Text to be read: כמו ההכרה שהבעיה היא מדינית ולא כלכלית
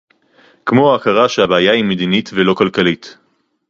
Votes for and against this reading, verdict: 0, 2, rejected